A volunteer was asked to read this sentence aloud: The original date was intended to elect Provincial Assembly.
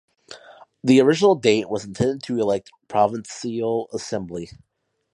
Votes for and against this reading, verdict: 0, 2, rejected